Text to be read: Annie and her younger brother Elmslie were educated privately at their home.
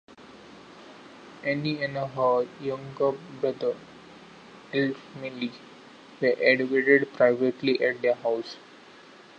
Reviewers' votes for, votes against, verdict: 0, 2, rejected